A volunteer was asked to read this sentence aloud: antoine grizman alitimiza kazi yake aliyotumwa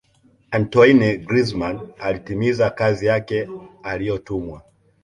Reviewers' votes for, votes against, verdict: 2, 0, accepted